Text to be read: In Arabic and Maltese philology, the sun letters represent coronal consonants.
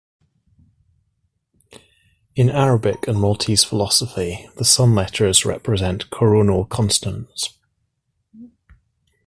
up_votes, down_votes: 1, 2